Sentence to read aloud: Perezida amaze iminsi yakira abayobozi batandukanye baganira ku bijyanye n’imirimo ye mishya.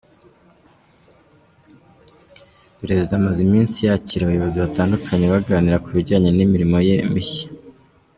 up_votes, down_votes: 2, 0